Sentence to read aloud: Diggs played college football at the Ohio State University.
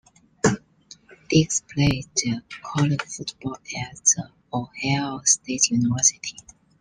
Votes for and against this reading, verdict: 0, 2, rejected